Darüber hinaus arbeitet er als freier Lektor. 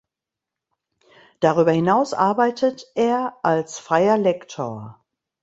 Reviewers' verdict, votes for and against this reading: accepted, 2, 0